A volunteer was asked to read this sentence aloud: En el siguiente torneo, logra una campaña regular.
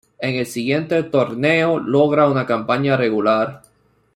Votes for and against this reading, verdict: 0, 2, rejected